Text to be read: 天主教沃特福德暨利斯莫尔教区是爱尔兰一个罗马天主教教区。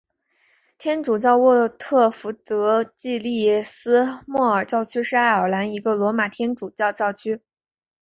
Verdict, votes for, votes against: accepted, 3, 0